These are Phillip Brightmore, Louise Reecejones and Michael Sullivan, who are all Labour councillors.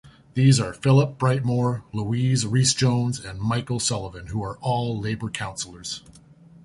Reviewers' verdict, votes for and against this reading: accepted, 2, 0